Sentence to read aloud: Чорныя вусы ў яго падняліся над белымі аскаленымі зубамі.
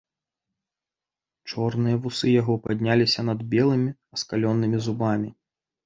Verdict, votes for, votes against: rejected, 1, 2